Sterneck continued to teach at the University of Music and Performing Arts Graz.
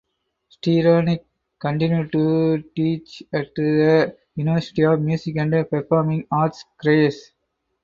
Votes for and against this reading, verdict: 0, 4, rejected